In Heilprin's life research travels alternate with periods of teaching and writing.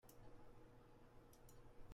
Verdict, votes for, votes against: rejected, 0, 2